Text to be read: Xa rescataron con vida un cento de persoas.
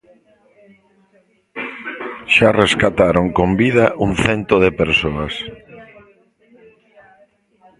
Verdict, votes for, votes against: rejected, 1, 2